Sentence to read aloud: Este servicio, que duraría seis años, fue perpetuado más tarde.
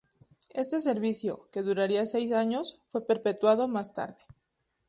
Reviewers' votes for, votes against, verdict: 2, 0, accepted